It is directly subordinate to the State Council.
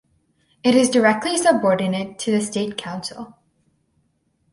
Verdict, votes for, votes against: accepted, 4, 0